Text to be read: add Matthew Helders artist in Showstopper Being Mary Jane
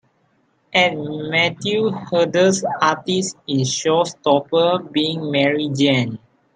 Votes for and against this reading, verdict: 0, 2, rejected